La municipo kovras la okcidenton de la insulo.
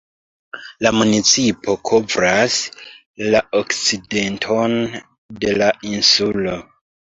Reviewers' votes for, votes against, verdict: 0, 2, rejected